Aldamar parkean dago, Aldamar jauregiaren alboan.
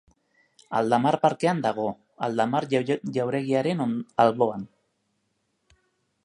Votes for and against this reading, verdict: 0, 2, rejected